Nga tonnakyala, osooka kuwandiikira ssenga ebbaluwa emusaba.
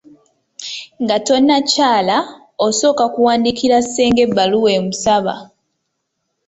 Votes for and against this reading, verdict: 2, 0, accepted